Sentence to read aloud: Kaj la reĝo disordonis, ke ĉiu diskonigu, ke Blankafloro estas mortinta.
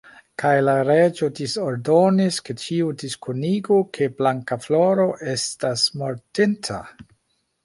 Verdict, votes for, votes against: accepted, 3, 1